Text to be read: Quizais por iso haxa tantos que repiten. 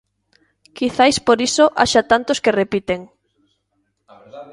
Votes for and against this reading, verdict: 1, 2, rejected